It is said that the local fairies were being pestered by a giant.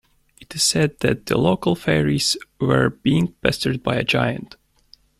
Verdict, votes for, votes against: accepted, 2, 1